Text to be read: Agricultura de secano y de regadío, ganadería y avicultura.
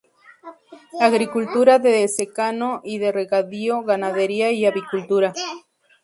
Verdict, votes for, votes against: accepted, 2, 0